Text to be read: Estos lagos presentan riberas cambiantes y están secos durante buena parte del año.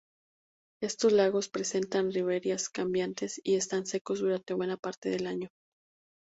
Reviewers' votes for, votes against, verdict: 0, 2, rejected